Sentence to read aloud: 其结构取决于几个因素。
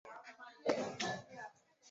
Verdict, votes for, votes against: rejected, 0, 4